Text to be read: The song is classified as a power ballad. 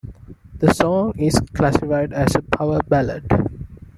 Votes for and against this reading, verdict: 2, 0, accepted